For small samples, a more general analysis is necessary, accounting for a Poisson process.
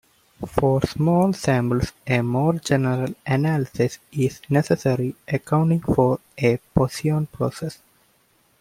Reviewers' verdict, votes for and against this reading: accepted, 2, 1